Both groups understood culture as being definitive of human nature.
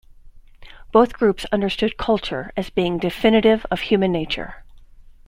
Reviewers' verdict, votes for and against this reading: accepted, 2, 0